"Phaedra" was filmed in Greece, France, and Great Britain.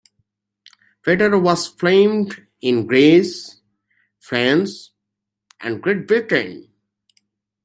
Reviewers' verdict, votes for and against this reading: rejected, 1, 2